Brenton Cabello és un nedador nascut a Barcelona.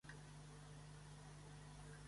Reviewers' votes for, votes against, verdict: 0, 2, rejected